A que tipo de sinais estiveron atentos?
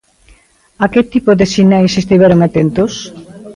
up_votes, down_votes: 2, 0